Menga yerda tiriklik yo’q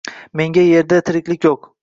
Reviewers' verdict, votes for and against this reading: rejected, 0, 2